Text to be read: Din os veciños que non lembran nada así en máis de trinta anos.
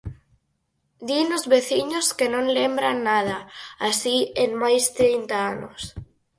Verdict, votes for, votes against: rejected, 0, 4